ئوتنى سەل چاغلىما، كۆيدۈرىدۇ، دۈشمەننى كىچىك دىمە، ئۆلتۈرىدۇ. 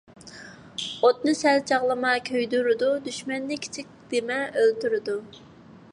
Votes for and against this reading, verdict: 2, 0, accepted